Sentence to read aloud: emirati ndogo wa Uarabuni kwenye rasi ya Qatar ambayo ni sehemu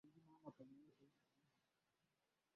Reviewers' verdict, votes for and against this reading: rejected, 0, 2